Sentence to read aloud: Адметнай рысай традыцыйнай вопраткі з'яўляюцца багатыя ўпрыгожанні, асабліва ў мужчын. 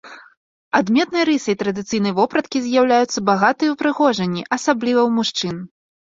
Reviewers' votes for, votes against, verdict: 2, 0, accepted